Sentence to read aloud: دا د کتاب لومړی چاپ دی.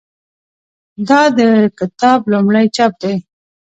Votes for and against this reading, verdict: 1, 2, rejected